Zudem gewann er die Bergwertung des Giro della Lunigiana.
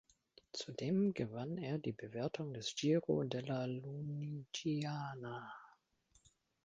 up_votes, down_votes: 0, 2